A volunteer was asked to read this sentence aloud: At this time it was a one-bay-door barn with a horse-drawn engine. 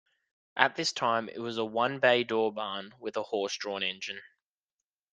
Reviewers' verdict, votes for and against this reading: accepted, 2, 0